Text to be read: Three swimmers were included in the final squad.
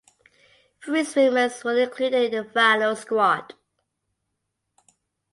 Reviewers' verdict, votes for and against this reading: accepted, 2, 1